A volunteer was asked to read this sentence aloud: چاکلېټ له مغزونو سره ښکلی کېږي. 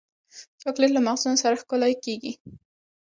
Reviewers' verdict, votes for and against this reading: accepted, 2, 1